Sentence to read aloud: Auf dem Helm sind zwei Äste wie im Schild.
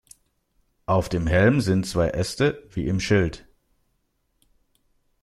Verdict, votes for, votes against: accepted, 2, 0